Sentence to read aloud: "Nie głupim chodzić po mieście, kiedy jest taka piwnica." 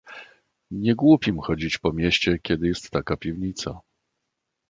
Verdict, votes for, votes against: accepted, 2, 0